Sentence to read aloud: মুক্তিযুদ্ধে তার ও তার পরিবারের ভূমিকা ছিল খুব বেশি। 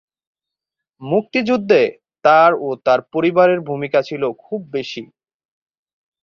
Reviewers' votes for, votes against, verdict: 5, 1, accepted